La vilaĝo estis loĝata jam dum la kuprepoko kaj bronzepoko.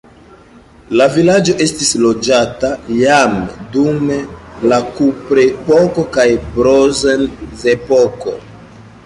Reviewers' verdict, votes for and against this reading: rejected, 2, 3